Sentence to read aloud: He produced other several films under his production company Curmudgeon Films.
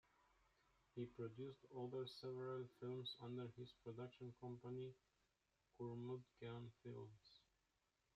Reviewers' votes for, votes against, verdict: 2, 0, accepted